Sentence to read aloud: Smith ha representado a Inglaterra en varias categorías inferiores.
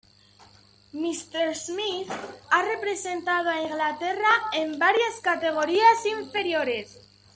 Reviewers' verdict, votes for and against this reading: rejected, 1, 2